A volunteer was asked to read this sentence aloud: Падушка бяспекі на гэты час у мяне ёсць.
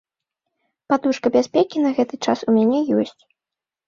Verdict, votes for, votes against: accepted, 3, 0